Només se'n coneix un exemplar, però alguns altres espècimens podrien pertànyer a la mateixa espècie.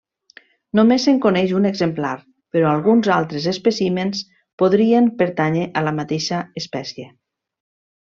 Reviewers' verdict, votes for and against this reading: rejected, 1, 2